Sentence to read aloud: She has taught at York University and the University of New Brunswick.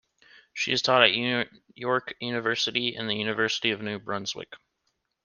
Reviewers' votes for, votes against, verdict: 1, 2, rejected